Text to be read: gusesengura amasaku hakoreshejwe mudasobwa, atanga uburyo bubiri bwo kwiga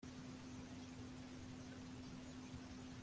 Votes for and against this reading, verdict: 0, 2, rejected